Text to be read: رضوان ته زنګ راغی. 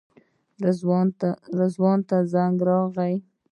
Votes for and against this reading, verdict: 2, 0, accepted